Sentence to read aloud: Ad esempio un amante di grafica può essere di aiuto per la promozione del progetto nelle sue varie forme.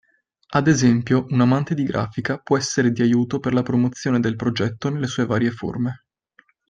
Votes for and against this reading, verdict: 2, 0, accepted